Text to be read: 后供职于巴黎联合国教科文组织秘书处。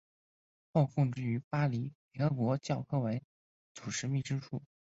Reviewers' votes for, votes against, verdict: 2, 0, accepted